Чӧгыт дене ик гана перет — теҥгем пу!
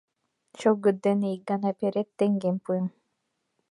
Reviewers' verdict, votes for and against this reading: rejected, 0, 3